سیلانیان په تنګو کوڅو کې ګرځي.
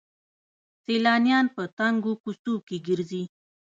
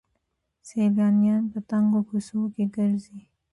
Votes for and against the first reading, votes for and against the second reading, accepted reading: 1, 2, 2, 1, second